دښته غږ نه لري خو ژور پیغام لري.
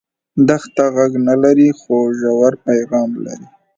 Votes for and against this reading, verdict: 2, 0, accepted